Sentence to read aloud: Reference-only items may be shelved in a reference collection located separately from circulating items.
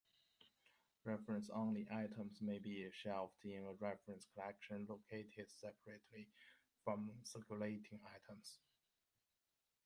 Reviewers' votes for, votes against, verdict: 1, 2, rejected